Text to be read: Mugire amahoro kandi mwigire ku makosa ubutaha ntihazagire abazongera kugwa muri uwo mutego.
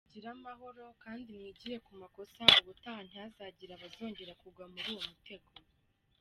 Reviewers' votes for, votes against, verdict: 1, 2, rejected